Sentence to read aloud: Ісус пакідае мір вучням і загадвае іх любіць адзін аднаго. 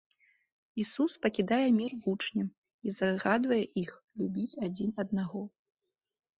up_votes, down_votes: 2, 0